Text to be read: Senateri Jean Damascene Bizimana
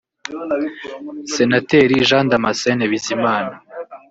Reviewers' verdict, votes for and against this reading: rejected, 0, 2